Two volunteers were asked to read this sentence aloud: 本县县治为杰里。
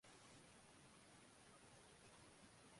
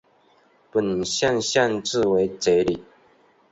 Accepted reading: second